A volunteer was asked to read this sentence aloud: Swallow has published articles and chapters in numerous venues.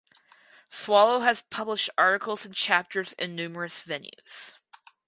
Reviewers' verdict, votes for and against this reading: accepted, 4, 0